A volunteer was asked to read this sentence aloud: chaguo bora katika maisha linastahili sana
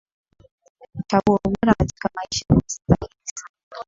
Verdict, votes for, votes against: accepted, 6, 5